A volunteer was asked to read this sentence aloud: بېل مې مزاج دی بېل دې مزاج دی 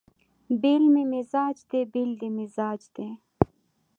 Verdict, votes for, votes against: accepted, 2, 0